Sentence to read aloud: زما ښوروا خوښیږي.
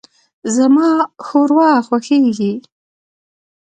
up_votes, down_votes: 2, 1